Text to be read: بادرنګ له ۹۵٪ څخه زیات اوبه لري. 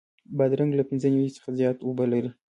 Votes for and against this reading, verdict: 0, 2, rejected